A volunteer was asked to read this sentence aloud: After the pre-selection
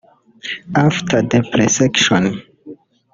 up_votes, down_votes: 0, 2